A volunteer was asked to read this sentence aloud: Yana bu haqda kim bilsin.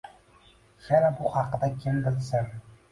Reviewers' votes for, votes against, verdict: 2, 1, accepted